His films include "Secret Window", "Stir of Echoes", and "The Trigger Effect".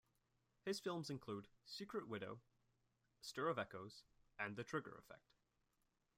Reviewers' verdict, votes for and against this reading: rejected, 0, 2